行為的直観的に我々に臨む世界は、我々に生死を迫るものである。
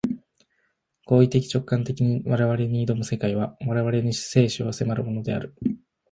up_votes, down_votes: 1, 2